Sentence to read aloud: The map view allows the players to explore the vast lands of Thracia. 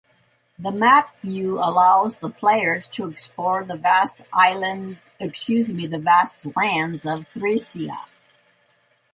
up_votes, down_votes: 0, 2